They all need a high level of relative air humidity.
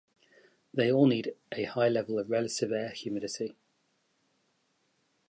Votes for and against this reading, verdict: 0, 2, rejected